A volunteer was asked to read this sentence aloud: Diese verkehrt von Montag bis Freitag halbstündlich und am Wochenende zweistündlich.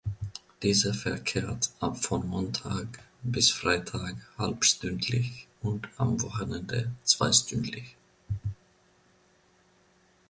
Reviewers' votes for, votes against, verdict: 0, 2, rejected